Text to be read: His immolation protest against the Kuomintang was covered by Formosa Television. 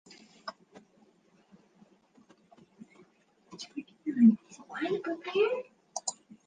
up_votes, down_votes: 0, 2